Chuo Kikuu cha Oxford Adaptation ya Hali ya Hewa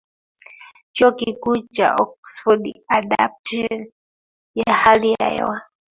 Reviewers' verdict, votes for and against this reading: accepted, 2, 0